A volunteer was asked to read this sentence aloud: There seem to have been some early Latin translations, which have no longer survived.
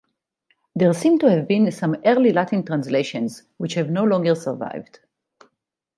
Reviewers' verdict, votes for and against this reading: accepted, 4, 0